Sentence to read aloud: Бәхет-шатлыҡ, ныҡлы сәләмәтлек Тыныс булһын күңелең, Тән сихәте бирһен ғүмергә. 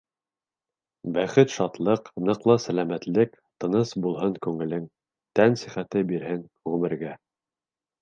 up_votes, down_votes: 2, 0